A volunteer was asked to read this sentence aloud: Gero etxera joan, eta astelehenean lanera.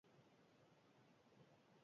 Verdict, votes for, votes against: rejected, 0, 2